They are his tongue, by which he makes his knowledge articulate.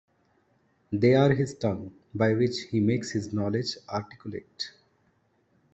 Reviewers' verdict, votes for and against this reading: accepted, 2, 0